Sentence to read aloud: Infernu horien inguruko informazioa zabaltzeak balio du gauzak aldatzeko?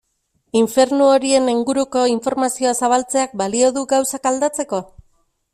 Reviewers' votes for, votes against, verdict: 2, 0, accepted